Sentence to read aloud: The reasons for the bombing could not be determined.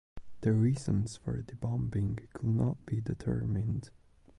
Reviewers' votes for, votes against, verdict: 1, 2, rejected